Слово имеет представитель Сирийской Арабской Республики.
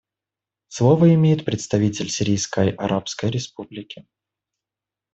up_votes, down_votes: 2, 0